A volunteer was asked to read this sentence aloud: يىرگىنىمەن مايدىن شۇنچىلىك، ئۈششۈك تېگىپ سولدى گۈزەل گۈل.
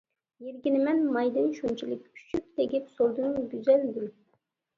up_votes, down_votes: 0, 2